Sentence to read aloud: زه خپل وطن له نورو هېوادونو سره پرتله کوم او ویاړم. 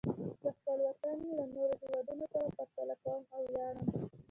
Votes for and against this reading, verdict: 0, 2, rejected